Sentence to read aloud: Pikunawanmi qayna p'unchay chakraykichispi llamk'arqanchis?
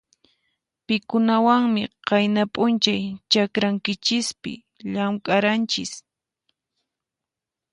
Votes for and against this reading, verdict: 2, 4, rejected